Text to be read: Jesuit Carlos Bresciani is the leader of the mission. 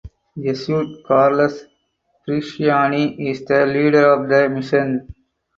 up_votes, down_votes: 4, 2